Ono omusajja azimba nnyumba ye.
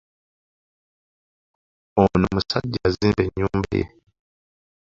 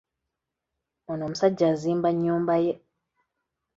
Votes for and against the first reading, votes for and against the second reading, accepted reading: 1, 2, 2, 0, second